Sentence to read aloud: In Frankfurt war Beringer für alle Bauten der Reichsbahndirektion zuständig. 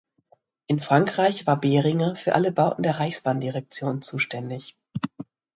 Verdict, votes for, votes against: rejected, 1, 2